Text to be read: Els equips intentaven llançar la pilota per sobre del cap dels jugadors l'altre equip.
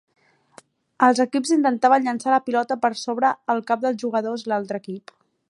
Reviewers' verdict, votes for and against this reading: rejected, 0, 2